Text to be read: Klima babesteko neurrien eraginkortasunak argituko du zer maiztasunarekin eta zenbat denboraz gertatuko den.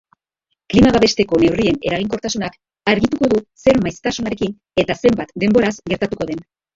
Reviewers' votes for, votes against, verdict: 0, 2, rejected